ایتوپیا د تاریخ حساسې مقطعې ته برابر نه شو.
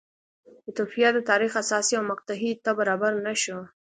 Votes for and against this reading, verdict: 2, 0, accepted